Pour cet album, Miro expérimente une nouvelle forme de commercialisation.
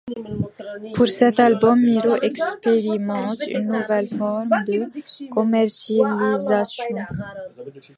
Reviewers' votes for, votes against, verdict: 1, 2, rejected